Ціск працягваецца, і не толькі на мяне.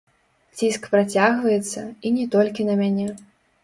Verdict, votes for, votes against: rejected, 0, 2